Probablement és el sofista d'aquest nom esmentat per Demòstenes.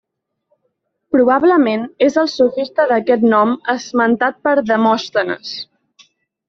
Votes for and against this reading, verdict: 2, 1, accepted